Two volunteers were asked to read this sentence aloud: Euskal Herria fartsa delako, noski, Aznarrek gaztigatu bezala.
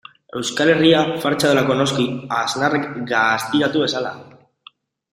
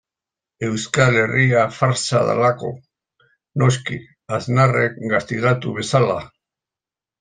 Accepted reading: second